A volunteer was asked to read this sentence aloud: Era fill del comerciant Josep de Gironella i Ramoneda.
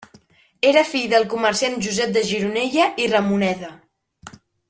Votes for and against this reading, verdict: 3, 1, accepted